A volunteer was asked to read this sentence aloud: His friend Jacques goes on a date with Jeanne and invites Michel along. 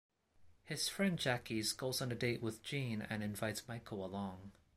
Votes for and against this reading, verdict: 1, 2, rejected